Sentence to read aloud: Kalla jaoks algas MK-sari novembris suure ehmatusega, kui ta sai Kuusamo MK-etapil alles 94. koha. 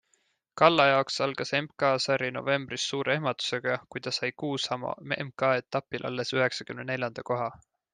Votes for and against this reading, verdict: 0, 2, rejected